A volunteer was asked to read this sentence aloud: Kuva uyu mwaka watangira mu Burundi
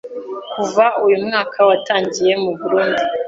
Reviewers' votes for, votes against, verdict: 1, 2, rejected